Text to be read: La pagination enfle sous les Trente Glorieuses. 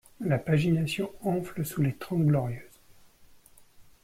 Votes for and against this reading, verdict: 2, 1, accepted